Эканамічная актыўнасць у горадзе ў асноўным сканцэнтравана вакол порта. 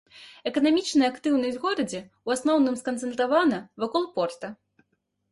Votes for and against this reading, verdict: 1, 2, rejected